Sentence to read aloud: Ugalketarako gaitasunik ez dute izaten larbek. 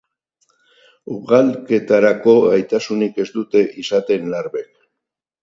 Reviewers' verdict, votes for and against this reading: accepted, 4, 0